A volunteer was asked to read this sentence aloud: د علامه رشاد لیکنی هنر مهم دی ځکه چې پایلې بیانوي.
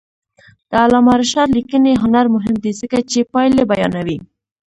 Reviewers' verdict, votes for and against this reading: rejected, 0, 2